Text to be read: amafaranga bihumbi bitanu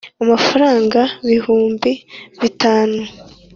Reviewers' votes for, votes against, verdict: 3, 0, accepted